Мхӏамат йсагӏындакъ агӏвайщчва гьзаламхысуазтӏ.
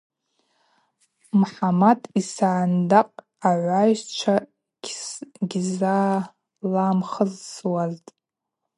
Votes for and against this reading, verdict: 0, 2, rejected